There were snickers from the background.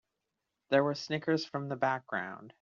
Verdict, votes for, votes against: accepted, 2, 0